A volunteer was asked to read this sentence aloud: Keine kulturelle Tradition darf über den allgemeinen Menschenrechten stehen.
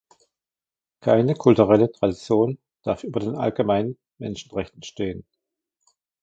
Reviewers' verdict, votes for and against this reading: accepted, 2, 0